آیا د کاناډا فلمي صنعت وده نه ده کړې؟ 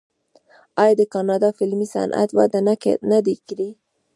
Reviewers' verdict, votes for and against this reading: rejected, 1, 2